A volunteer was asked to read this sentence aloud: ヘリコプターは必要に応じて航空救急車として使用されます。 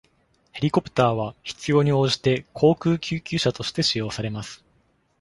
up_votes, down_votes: 2, 0